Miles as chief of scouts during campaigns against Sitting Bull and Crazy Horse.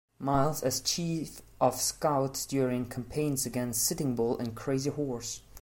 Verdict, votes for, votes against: accepted, 2, 0